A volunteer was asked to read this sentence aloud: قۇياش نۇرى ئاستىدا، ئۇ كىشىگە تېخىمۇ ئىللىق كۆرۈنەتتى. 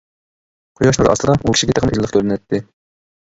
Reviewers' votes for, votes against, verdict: 0, 2, rejected